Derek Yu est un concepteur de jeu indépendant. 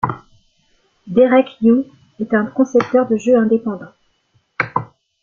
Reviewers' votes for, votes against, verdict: 2, 0, accepted